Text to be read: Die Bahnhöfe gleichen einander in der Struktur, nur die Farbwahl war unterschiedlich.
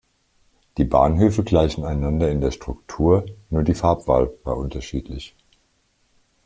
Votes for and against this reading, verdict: 2, 0, accepted